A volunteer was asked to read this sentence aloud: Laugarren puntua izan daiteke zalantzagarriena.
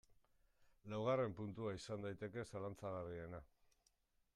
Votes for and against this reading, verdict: 2, 1, accepted